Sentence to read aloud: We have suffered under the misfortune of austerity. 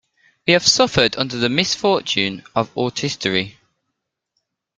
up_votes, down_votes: 0, 2